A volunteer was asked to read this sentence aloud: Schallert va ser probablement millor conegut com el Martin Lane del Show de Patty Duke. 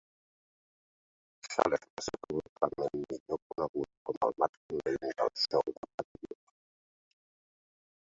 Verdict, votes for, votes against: rejected, 0, 2